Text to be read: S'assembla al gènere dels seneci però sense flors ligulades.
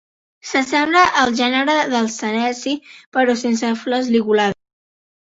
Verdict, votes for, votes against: rejected, 0, 2